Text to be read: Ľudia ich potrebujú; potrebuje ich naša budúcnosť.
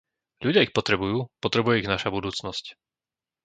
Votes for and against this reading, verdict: 2, 0, accepted